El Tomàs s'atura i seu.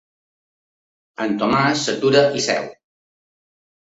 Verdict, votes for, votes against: rejected, 1, 2